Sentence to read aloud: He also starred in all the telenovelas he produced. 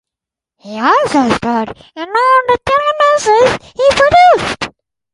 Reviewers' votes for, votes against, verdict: 0, 4, rejected